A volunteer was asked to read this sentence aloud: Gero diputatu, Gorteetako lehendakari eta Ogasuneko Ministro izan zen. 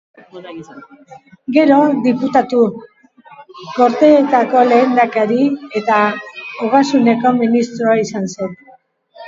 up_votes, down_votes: 2, 0